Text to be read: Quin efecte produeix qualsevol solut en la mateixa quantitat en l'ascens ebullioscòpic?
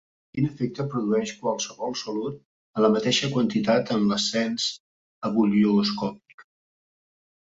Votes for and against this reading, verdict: 1, 3, rejected